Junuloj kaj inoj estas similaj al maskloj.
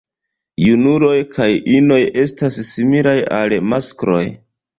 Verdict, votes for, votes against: rejected, 0, 2